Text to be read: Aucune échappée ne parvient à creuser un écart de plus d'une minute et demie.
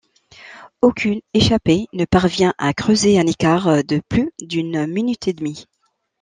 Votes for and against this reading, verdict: 0, 2, rejected